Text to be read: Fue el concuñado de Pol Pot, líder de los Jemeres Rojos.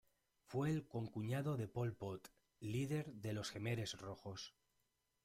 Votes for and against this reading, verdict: 1, 2, rejected